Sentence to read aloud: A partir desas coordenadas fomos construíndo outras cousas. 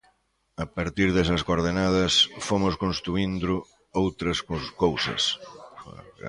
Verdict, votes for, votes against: rejected, 0, 2